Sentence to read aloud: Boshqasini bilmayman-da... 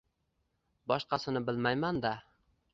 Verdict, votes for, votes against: accepted, 2, 0